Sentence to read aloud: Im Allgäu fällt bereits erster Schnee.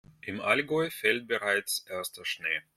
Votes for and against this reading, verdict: 2, 0, accepted